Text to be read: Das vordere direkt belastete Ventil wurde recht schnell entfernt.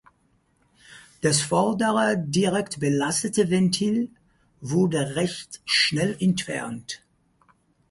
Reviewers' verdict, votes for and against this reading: accepted, 4, 0